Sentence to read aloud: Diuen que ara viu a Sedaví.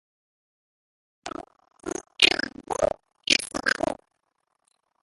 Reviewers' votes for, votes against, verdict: 1, 4, rejected